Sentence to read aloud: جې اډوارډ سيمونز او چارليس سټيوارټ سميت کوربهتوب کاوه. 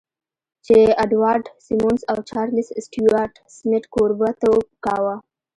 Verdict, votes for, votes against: accepted, 2, 0